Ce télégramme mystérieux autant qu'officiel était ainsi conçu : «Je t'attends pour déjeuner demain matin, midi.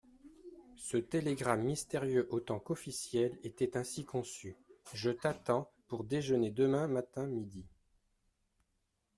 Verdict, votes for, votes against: rejected, 1, 2